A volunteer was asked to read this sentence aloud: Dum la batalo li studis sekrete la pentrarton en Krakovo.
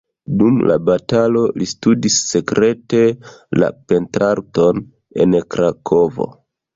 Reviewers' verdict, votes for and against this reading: rejected, 1, 2